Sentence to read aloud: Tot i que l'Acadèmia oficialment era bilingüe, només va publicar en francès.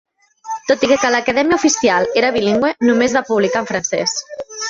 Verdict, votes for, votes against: rejected, 0, 2